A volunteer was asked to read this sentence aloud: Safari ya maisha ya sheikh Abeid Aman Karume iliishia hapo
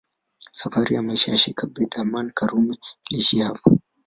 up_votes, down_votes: 0, 2